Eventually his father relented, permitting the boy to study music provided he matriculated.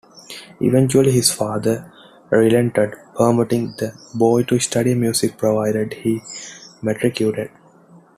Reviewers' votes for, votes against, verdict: 1, 2, rejected